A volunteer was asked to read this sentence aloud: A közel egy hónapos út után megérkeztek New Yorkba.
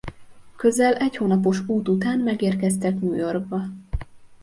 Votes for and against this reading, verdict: 0, 2, rejected